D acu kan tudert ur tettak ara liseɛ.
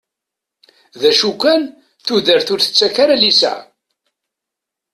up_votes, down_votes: 2, 0